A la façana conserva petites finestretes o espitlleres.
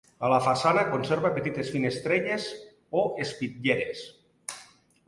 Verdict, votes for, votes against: rejected, 0, 2